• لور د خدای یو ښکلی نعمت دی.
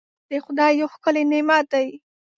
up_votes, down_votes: 1, 2